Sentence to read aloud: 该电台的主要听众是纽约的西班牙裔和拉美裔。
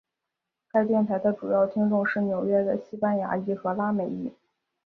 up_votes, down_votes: 2, 0